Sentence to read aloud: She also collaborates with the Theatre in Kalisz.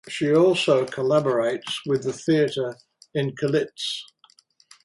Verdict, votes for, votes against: rejected, 2, 2